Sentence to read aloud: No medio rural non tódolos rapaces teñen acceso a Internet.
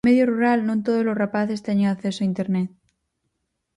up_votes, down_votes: 0, 4